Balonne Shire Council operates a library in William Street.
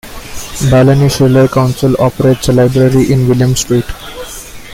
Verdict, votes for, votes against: accepted, 2, 1